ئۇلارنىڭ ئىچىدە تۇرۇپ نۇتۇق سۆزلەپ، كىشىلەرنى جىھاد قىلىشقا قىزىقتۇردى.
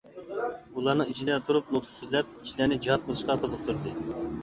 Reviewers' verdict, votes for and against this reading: accepted, 2, 1